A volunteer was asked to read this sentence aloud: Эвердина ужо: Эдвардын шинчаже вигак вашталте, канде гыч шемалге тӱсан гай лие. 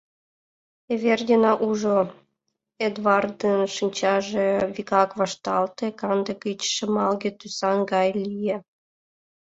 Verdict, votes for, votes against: accepted, 2, 0